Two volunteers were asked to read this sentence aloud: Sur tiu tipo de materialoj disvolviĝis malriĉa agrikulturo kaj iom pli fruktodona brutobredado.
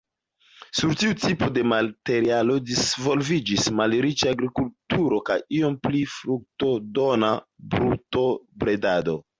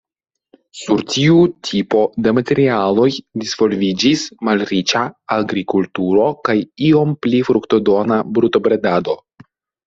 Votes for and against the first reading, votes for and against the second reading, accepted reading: 1, 2, 2, 0, second